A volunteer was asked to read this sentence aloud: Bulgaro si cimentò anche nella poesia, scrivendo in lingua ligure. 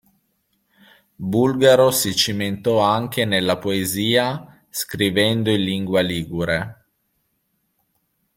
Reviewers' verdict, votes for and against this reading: accepted, 2, 0